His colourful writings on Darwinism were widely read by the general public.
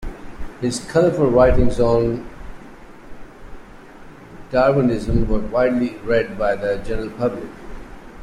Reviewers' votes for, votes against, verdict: 2, 1, accepted